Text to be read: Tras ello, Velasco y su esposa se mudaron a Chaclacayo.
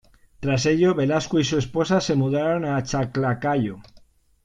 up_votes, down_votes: 0, 2